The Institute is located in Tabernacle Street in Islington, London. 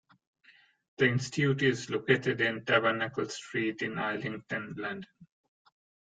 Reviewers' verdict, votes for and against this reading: rejected, 1, 2